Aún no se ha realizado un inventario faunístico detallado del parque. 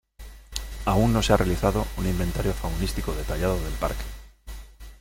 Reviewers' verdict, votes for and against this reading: accepted, 2, 1